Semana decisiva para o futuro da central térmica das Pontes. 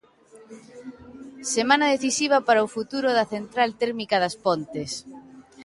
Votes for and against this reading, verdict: 2, 0, accepted